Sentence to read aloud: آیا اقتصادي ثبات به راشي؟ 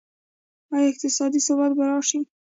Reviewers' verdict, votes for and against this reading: accepted, 2, 0